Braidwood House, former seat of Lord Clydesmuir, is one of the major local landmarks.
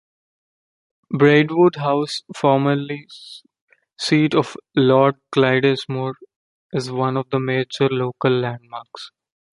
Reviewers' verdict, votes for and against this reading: rejected, 0, 2